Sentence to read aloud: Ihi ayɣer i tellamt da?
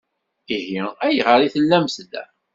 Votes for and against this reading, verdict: 2, 0, accepted